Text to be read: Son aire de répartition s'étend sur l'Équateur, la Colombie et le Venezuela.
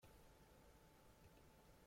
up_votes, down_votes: 0, 2